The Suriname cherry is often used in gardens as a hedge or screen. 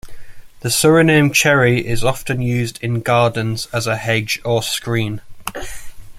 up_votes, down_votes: 2, 0